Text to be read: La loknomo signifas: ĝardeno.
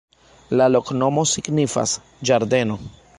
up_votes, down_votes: 2, 0